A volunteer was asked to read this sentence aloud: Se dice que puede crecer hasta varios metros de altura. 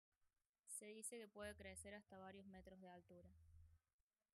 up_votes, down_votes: 1, 2